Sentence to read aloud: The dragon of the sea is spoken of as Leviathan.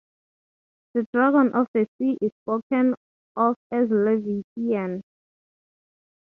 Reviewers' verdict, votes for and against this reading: rejected, 0, 3